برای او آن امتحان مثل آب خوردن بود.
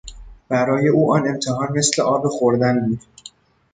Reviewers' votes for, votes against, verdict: 1, 2, rejected